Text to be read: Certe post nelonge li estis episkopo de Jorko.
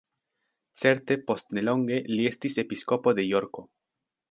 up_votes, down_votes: 2, 0